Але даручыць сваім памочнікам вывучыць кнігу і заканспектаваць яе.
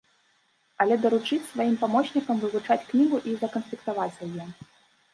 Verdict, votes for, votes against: rejected, 1, 2